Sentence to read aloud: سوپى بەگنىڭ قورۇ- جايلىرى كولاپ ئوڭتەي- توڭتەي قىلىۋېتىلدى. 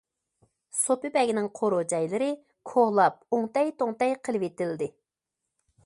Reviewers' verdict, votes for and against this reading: accepted, 2, 0